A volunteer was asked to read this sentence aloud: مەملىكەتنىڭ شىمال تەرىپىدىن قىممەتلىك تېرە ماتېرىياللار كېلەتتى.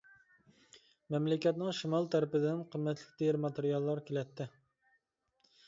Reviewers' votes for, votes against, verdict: 2, 0, accepted